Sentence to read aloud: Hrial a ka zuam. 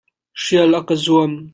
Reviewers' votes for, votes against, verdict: 2, 0, accepted